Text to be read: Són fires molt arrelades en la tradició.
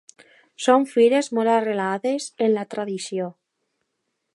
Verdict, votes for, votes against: accepted, 2, 0